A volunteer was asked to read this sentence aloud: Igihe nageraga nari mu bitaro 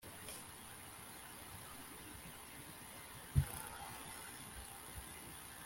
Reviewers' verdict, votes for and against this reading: rejected, 0, 2